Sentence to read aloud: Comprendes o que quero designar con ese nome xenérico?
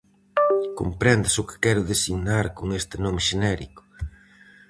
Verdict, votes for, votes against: rejected, 2, 2